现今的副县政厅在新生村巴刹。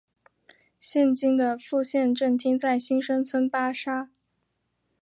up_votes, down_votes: 2, 0